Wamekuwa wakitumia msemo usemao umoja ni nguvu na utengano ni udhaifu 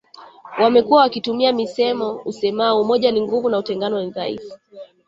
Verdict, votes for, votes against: rejected, 0, 3